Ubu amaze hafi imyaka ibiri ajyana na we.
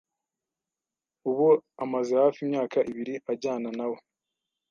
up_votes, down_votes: 2, 0